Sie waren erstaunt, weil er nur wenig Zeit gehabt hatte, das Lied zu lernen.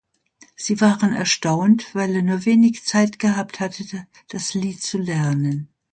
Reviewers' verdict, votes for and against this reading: rejected, 0, 2